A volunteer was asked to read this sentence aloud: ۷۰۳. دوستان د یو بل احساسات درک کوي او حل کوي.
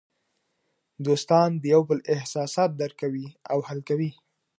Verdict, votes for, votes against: rejected, 0, 2